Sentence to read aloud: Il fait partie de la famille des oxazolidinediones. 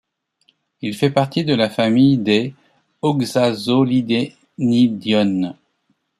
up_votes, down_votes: 1, 2